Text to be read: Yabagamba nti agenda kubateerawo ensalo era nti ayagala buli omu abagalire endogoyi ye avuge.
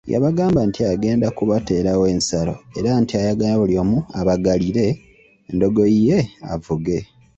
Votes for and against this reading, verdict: 2, 0, accepted